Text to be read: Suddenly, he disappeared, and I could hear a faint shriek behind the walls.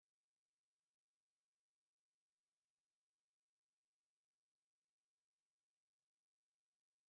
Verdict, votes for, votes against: rejected, 0, 2